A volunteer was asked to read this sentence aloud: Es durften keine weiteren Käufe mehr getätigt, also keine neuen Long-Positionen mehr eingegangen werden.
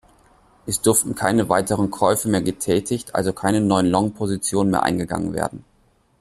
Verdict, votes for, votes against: accepted, 2, 0